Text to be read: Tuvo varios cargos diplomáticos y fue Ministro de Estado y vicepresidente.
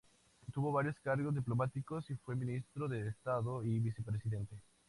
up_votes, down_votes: 2, 0